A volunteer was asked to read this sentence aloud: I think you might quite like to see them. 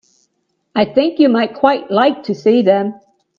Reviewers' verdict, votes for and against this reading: accepted, 2, 0